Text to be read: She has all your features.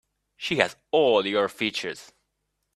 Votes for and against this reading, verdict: 3, 0, accepted